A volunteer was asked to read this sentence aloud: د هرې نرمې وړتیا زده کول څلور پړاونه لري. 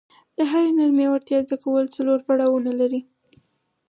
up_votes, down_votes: 4, 0